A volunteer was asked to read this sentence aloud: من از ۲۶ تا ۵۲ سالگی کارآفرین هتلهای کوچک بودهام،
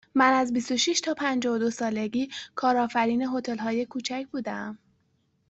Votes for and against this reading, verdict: 0, 2, rejected